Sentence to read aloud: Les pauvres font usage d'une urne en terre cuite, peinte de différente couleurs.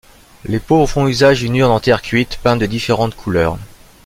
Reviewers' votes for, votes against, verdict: 2, 0, accepted